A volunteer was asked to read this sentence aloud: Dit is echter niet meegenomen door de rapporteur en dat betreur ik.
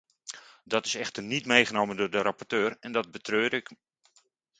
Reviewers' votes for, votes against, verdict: 1, 2, rejected